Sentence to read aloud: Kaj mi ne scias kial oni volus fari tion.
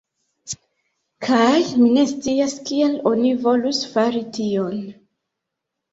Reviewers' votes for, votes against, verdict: 2, 0, accepted